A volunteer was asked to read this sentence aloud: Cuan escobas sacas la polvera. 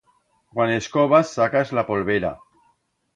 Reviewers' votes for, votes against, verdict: 2, 0, accepted